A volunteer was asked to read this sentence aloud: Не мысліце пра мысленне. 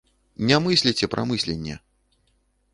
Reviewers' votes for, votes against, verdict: 2, 0, accepted